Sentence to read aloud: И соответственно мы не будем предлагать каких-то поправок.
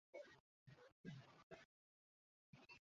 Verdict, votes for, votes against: rejected, 0, 2